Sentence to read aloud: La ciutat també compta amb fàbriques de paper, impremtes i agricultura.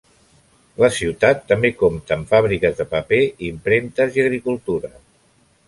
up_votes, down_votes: 3, 0